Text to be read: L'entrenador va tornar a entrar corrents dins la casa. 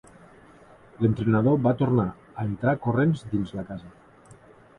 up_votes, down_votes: 3, 0